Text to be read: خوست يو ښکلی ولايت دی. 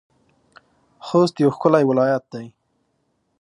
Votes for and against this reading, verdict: 4, 0, accepted